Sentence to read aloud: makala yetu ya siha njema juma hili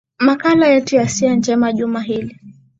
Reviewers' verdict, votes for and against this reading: accepted, 2, 0